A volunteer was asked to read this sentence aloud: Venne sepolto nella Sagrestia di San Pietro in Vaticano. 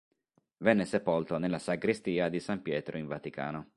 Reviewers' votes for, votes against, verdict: 3, 0, accepted